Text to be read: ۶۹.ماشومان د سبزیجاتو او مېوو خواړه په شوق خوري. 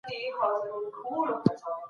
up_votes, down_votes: 0, 2